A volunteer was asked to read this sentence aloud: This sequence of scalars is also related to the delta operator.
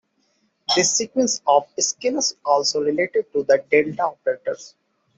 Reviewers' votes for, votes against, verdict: 0, 2, rejected